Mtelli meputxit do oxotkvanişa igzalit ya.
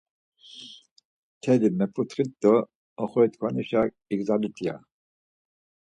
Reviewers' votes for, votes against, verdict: 4, 0, accepted